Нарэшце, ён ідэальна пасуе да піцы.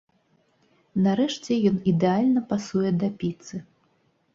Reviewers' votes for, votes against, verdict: 2, 0, accepted